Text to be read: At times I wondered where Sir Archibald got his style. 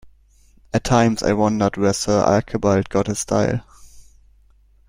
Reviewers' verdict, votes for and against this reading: rejected, 1, 2